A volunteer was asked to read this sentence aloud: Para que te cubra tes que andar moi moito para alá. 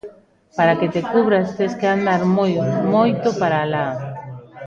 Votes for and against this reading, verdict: 1, 2, rejected